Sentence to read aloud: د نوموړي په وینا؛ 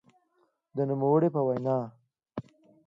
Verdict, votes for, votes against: accepted, 2, 0